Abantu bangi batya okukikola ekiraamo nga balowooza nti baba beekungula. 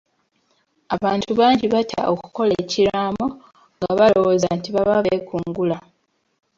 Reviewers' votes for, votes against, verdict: 1, 2, rejected